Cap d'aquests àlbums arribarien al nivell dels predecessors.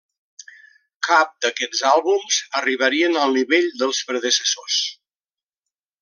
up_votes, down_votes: 3, 0